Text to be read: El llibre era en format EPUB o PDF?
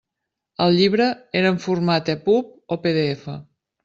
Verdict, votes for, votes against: accepted, 3, 0